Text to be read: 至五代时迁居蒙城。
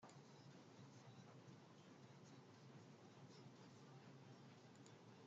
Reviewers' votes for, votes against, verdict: 0, 2, rejected